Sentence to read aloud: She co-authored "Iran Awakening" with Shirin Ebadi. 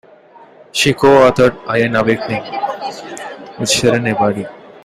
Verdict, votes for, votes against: accepted, 2, 0